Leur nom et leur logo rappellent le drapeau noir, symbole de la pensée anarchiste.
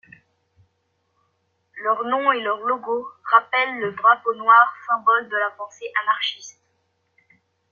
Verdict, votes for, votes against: accepted, 2, 1